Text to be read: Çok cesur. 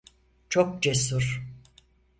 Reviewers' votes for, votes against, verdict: 4, 0, accepted